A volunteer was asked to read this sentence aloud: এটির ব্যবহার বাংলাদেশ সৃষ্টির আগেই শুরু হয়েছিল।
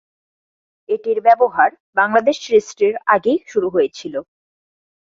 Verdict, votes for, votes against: accepted, 4, 0